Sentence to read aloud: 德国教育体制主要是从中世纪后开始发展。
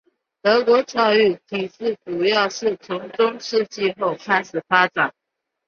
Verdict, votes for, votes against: accepted, 3, 1